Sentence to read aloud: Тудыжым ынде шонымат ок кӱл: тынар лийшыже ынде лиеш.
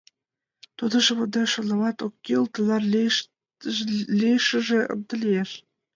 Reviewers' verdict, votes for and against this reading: rejected, 1, 2